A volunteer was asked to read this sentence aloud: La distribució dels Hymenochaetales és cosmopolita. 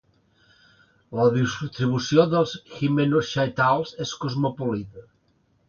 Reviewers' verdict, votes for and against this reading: accepted, 2, 0